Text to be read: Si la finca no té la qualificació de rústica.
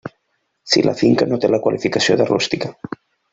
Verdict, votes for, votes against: accepted, 3, 0